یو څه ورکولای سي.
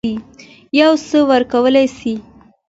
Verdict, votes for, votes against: accepted, 2, 0